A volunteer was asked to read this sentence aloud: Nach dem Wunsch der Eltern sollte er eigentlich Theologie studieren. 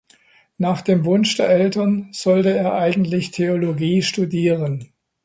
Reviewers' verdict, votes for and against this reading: accepted, 2, 0